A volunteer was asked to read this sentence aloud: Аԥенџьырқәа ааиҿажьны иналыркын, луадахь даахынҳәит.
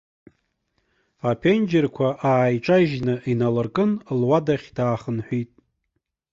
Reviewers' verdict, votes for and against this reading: accepted, 2, 0